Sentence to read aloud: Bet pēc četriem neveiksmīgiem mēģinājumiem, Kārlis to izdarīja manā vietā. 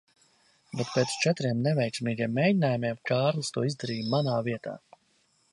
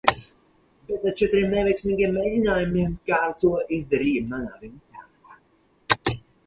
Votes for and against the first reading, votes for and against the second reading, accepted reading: 2, 0, 2, 4, first